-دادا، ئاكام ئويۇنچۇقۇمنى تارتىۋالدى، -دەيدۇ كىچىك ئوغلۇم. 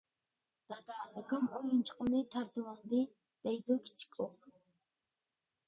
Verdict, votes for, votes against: rejected, 0, 2